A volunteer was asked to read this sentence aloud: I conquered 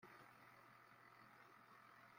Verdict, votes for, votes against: rejected, 1, 4